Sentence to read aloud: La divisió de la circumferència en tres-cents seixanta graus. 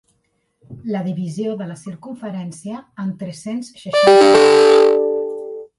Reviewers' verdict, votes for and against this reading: rejected, 0, 4